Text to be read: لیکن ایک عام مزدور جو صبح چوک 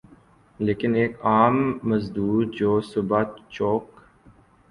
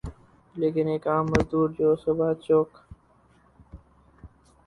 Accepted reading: first